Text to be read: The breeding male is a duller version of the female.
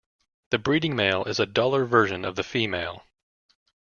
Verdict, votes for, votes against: accepted, 2, 0